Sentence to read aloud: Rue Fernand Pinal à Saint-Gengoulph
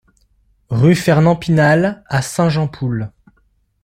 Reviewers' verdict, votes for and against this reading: rejected, 0, 2